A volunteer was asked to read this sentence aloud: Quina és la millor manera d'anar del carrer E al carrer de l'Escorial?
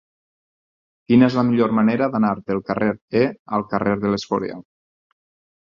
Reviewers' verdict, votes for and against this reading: rejected, 0, 4